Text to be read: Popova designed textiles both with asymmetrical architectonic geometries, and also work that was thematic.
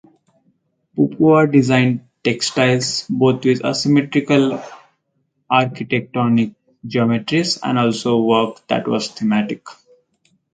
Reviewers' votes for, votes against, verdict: 0, 4, rejected